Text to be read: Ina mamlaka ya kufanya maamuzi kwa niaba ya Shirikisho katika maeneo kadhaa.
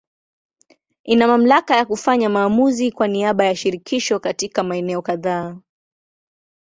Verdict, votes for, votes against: accepted, 2, 0